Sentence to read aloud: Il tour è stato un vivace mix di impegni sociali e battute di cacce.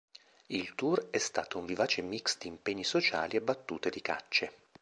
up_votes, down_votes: 2, 0